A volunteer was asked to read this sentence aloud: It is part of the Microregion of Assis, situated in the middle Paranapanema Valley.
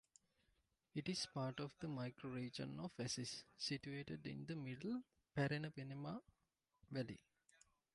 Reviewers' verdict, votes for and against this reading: accepted, 2, 0